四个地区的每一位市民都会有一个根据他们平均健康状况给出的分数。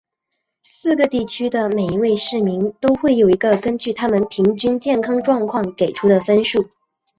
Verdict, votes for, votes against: accepted, 2, 1